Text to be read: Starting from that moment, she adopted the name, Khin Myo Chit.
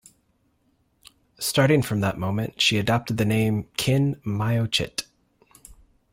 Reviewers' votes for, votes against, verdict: 2, 0, accepted